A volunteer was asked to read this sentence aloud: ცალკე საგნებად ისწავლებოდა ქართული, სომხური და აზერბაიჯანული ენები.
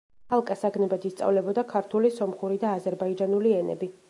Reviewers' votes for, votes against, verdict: 1, 2, rejected